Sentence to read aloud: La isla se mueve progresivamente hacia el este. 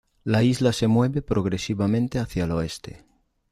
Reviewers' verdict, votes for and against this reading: rejected, 1, 2